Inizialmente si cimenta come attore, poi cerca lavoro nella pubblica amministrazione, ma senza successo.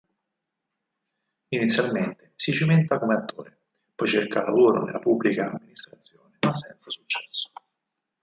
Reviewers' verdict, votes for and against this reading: rejected, 2, 4